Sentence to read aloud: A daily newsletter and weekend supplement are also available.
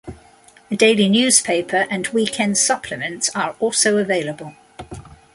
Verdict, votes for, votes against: rejected, 0, 2